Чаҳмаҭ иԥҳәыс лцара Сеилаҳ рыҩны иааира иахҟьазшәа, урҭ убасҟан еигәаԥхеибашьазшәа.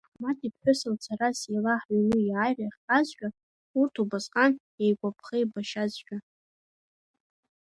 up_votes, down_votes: 0, 2